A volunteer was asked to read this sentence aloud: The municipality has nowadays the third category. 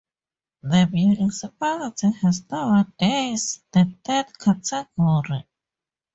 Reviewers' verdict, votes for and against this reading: rejected, 0, 2